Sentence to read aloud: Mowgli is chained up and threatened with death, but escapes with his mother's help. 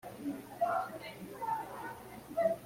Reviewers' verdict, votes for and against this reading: rejected, 0, 2